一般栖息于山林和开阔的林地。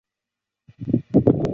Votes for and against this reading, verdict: 0, 2, rejected